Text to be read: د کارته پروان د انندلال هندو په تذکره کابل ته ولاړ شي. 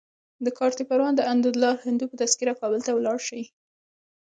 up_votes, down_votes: 1, 2